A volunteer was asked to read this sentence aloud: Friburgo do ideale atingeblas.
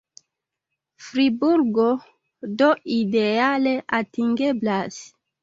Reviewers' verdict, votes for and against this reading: accepted, 2, 0